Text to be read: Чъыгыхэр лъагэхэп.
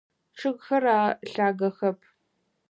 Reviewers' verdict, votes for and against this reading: rejected, 2, 4